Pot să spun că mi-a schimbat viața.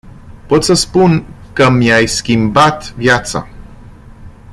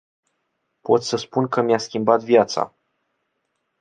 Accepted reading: second